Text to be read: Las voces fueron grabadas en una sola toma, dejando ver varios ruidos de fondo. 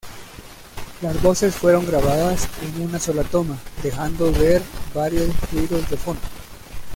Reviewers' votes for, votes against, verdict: 2, 1, accepted